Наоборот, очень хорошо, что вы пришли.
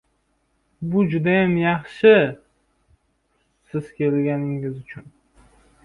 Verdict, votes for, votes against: rejected, 0, 2